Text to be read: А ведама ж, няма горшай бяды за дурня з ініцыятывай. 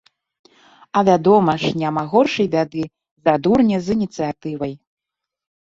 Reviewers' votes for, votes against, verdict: 0, 2, rejected